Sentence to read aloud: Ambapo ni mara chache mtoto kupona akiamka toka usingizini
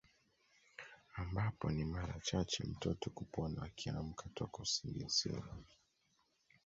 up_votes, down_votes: 1, 2